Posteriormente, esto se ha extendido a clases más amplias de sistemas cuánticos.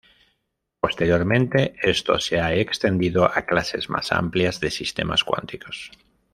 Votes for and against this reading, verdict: 2, 0, accepted